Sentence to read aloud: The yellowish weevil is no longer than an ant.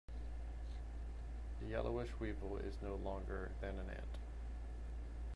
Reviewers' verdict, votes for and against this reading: accepted, 2, 0